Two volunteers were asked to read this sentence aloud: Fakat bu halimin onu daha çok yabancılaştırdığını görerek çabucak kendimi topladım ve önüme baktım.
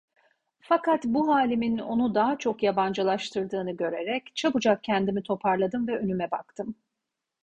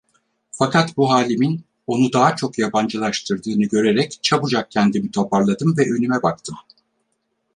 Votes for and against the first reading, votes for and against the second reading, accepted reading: 2, 0, 2, 4, first